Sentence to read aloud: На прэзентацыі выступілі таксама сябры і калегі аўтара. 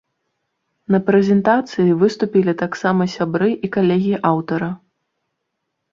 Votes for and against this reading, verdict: 2, 0, accepted